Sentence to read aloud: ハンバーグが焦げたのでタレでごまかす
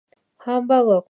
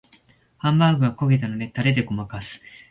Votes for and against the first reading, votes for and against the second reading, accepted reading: 0, 2, 2, 0, second